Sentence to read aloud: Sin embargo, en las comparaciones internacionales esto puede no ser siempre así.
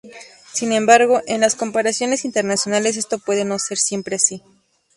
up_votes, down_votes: 2, 0